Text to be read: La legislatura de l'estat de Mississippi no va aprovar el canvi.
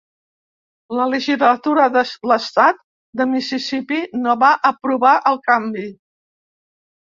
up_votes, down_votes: 0, 2